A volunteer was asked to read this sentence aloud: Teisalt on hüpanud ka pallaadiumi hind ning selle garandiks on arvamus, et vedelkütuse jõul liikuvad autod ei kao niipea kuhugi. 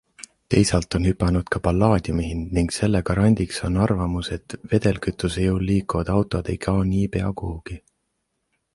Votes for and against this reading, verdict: 2, 0, accepted